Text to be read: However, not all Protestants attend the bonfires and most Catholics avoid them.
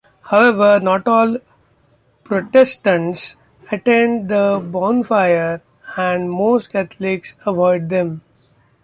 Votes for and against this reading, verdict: 1, 2, rejected